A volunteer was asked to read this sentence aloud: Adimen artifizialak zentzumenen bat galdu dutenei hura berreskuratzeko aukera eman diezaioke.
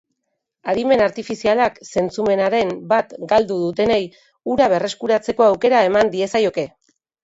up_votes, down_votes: 0, 2